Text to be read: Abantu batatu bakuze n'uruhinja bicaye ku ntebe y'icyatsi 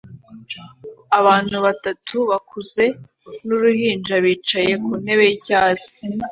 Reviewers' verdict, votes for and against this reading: accepted, 2, 0